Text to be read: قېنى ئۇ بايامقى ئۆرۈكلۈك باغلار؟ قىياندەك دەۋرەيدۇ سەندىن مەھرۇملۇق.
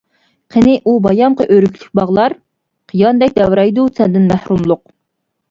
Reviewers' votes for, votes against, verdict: 2, 0, accepted